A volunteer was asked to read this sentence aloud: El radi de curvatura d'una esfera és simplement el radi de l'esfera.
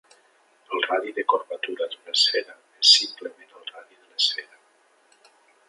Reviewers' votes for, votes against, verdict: 0, 2, rejected